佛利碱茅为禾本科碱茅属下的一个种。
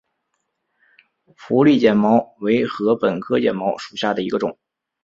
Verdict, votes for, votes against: accepted, 4, 0